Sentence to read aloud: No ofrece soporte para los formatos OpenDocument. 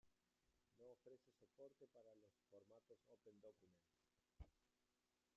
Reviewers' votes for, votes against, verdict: 0, 2, rejected